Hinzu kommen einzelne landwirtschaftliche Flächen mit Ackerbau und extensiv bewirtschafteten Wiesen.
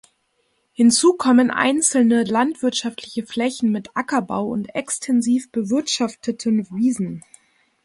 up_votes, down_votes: 2, 0